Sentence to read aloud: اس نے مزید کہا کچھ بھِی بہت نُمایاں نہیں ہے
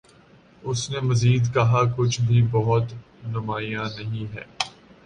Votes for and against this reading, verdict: 2, 0, accepted